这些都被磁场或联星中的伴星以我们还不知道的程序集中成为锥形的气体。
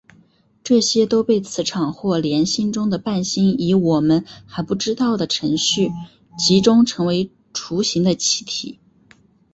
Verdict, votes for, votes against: accepted, 2, 1